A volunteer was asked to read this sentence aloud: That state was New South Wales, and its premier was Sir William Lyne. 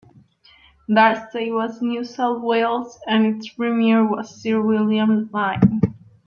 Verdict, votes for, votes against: accepted, 2, 0